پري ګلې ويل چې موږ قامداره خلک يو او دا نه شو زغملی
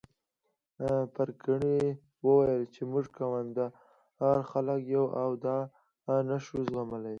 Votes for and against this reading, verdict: 2, 3, rejected